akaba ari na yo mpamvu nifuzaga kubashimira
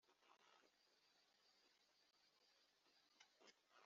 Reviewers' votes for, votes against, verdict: 1, 2, rejected